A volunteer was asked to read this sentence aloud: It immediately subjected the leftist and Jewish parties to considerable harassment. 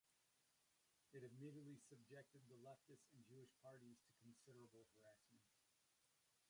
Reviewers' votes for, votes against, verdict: 0, 2, rejected